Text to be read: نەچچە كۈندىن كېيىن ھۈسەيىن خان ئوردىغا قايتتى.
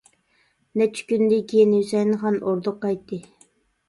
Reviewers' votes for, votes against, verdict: 0, 2, rejected